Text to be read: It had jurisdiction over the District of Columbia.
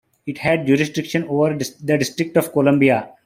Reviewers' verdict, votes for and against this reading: accepted, 2, 1